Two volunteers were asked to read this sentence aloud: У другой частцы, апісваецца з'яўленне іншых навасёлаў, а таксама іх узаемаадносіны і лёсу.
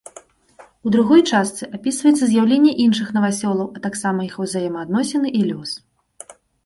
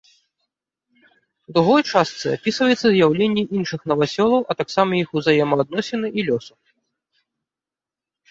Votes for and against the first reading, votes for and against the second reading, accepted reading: 1, 2, 2, 0, second